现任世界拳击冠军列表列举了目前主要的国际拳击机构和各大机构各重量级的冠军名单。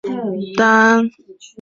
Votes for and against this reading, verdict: 0, 2, rejected